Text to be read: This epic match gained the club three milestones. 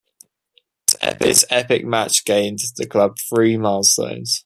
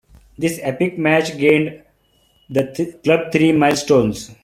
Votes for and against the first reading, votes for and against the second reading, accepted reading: 2, 1, 1, 2, first